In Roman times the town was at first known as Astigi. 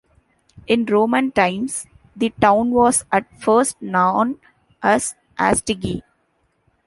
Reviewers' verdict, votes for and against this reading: accepted, 2, 1